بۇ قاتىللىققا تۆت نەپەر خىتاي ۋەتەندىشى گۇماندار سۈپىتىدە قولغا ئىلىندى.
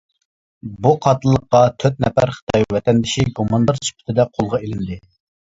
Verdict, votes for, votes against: accepted, 2, 1